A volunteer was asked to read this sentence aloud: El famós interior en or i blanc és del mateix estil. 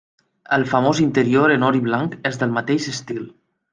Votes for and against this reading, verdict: 2, 0, accepted